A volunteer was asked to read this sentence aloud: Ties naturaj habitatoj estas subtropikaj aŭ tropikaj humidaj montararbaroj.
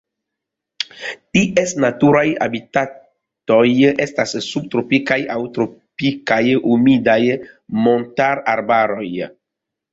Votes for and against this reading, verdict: 0, 2, rejected